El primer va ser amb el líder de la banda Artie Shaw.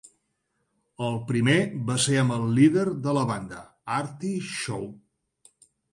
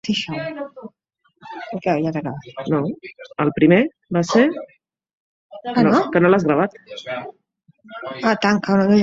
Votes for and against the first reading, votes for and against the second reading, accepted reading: 3, 0, 0, 2, first